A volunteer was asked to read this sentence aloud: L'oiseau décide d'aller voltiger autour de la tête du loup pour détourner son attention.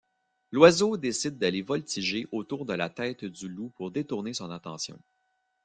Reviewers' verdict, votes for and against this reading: rejected, 1, 2